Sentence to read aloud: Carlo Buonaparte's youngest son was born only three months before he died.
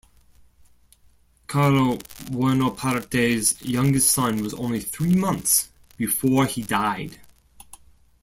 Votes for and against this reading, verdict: 0, 2, rejected